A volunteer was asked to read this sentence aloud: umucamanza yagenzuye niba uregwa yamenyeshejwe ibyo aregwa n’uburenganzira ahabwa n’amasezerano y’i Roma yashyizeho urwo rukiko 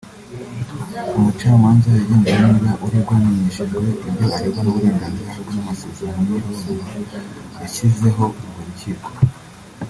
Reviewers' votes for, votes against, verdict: 1, 2, rejected